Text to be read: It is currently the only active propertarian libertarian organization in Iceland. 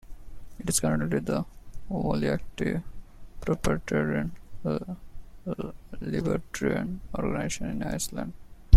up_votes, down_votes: 2, 1